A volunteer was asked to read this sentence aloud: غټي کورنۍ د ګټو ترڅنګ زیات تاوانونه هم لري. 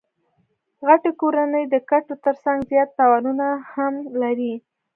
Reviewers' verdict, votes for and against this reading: accepted, 2, 0